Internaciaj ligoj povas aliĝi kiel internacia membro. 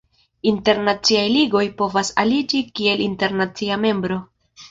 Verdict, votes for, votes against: accepted, 2, 0